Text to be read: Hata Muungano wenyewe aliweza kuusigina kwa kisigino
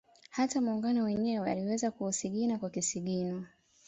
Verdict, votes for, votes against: accepted, 2, 0